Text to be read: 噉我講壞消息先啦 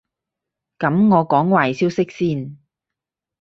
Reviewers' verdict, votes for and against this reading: rejected, 0, 6